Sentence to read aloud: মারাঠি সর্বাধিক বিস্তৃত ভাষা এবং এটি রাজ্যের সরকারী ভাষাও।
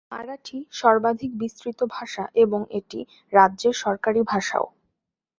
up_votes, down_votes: 2, 0